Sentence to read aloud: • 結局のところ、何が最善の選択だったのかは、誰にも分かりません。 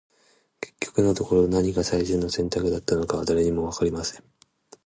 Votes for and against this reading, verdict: 1, 2, rejected